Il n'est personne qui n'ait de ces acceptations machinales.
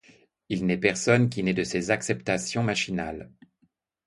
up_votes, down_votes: 2, 0